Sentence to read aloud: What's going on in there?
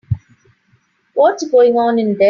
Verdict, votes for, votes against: rejected, 0, 3